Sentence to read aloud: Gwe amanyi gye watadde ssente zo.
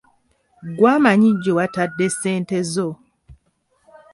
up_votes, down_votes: 2, 0